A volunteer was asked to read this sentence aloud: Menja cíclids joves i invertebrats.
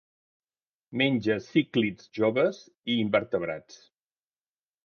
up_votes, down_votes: 4, 0